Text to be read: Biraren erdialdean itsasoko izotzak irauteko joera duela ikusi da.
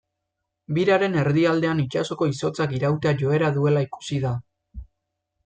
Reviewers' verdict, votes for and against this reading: rejected, 1, 2